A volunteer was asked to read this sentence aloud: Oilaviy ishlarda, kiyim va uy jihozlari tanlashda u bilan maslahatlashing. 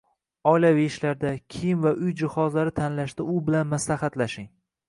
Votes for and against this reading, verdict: 1, 2, rejected